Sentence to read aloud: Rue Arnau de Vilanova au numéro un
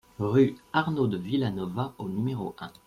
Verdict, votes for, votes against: accepted, 2, 0